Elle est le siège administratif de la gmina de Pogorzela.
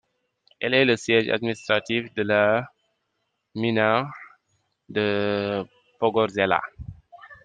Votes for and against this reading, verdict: 0, 2, rejected